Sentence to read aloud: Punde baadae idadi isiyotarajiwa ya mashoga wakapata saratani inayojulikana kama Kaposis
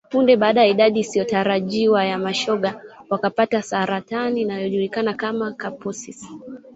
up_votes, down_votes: 1, 2